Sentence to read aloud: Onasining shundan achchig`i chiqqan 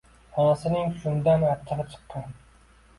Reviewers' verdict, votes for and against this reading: accepted, 2, 0